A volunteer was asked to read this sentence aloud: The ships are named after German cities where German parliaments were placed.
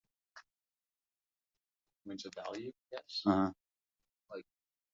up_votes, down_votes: 0, 2